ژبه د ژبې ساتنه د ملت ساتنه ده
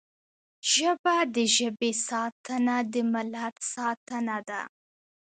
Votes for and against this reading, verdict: 2, 0, accepted